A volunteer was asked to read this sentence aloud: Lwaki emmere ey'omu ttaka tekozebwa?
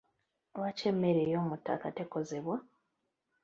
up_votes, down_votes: 1, 2